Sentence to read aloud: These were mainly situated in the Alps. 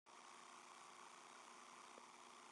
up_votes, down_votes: 0, 2